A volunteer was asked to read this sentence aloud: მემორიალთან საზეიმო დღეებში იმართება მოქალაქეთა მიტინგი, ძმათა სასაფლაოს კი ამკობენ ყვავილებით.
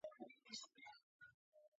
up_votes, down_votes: 0, 2